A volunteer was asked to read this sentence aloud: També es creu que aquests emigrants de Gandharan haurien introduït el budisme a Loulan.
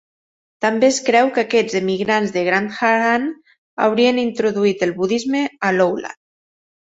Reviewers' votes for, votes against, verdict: 3, 1, accepted